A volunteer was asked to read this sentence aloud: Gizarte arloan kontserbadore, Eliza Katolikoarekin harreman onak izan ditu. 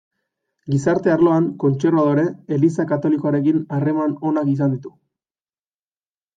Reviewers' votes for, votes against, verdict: 2, 0, accepted